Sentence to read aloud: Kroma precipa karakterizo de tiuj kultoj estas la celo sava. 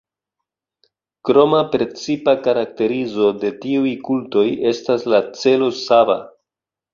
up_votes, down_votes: 2, 0